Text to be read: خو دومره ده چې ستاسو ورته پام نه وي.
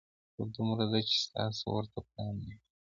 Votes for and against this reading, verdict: 0, 2, rejected